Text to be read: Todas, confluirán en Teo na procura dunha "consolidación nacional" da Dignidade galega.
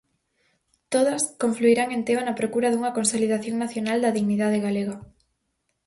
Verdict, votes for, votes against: accepted, 4, 0